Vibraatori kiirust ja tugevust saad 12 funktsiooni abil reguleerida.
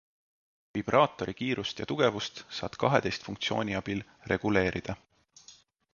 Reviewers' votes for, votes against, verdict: 0, 2, rejected